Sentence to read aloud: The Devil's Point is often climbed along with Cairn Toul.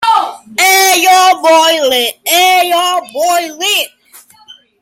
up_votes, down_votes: 0, 2